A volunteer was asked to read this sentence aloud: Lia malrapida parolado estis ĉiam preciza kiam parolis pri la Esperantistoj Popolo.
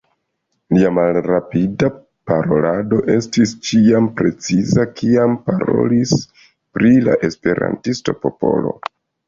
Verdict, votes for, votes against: rejected, 0, 2